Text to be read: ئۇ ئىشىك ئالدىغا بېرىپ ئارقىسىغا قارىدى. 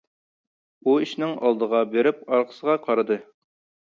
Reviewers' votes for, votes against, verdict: 0, 2, rejected